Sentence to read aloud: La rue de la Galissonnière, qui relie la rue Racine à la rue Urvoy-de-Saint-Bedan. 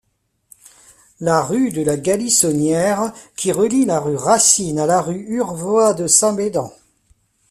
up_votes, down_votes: 1, 2